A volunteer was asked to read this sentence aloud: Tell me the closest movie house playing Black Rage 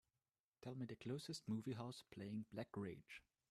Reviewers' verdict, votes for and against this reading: accepted, 2, 0